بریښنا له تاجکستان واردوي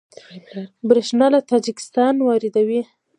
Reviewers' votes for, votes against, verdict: 0, 2, rejected